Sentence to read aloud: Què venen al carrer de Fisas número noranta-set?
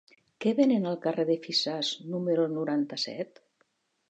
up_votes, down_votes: 1, 2